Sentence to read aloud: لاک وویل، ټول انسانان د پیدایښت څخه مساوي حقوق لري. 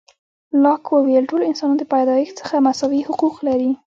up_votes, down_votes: 1, 2